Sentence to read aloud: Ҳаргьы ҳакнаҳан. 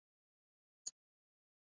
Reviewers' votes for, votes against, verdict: 0, 2, rejected